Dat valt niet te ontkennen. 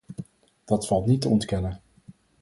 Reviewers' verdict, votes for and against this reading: accepted, 4, 0